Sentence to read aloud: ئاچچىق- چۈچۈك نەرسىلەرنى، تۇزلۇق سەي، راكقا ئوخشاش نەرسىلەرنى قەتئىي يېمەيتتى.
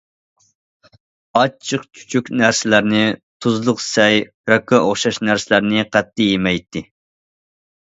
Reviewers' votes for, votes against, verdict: 2, 0, accepted